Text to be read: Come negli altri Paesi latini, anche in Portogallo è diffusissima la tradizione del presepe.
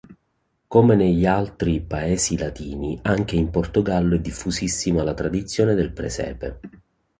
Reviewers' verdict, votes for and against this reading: accepted, 2, 0